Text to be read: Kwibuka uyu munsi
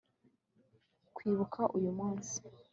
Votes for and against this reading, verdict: 2, 0, accepted